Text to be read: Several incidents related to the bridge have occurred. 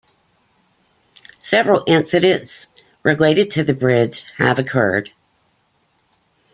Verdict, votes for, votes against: accepted, 2, 0